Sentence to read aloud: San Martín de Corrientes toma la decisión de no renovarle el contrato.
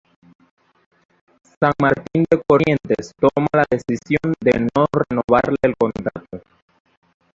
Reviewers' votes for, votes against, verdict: 0, 2, rejected